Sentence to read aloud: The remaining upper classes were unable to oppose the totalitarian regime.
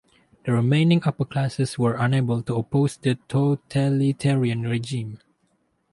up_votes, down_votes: 2, 0